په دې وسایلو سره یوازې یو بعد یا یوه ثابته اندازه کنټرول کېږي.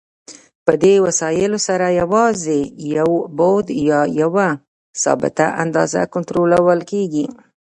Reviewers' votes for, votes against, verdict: 0, 2, rejected